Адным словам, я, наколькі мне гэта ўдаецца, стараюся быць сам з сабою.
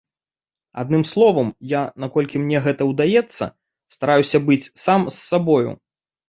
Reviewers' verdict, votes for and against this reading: accepted, 2, 0